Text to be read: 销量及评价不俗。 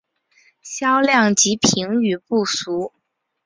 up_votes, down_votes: 1, 2